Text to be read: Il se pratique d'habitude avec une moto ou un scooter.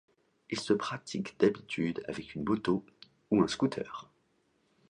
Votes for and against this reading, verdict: 2, 0, accepted